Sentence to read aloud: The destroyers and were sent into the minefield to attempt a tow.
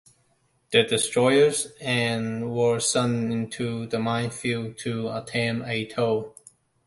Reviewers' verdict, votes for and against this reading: rejected, 1, 2